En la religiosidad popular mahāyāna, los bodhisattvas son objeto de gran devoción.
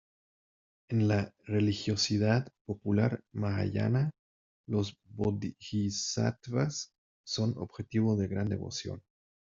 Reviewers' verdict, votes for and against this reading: rejected, 1, 2